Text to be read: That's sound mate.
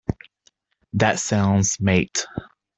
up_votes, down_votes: 1, 2